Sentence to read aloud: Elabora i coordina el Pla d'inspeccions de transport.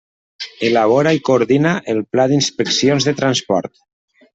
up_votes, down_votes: 3, 0